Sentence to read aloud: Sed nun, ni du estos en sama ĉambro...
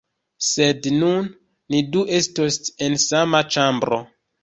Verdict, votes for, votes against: rejected, 0, 2